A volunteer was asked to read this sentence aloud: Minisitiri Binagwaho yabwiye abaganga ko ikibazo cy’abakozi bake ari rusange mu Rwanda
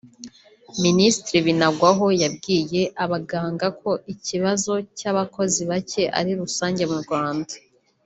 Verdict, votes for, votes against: accepted, 2, 0